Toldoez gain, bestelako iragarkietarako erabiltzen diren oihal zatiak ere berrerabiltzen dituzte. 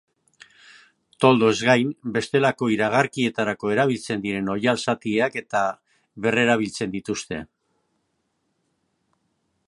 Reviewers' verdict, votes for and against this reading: rejected, 0, 2